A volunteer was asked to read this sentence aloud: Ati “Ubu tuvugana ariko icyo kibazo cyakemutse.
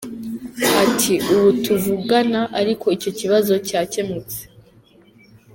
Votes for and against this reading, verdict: 2, 0, accepted